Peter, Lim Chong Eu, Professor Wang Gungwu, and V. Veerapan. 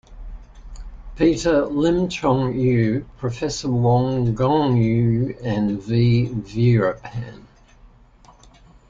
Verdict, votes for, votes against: accepted, 2, 0